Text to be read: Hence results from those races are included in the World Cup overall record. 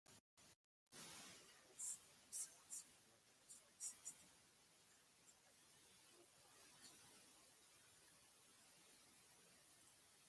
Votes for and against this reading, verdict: 0, 2, rejected